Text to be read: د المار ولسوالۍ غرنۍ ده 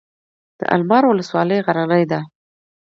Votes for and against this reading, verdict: 2, 0, accepted